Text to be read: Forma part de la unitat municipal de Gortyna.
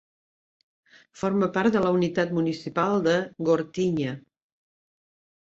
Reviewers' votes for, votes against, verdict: 1, 2, rejected